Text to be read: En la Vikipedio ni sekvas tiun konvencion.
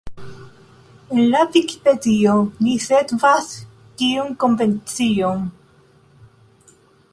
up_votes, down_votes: 2, 0